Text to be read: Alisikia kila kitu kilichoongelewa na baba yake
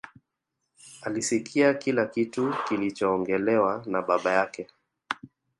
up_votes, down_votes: 2, 1